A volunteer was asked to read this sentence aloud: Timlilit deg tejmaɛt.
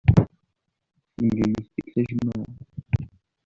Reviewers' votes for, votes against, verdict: 1, 2, rejected